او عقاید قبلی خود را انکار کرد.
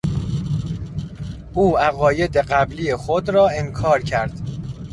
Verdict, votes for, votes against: rejected, 0, 2